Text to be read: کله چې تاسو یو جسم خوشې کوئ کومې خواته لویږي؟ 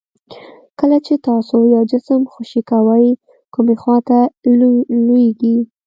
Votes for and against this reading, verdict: 2, 0, accepted